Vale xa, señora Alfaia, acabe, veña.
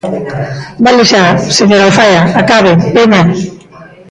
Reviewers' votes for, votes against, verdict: 0, 2, rejected